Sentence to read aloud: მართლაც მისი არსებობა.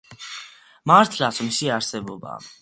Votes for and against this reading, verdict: 2, 0, accepted